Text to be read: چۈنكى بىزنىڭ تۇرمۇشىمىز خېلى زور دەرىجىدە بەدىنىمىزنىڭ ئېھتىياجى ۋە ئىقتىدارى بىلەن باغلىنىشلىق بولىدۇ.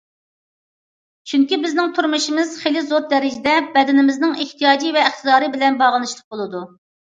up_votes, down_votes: 2, 0